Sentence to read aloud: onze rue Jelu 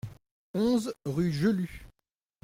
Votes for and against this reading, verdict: 2, 0, accepted